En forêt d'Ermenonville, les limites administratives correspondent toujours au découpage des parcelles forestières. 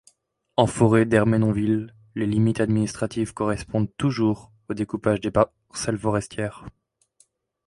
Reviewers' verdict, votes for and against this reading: rejected, 0, 2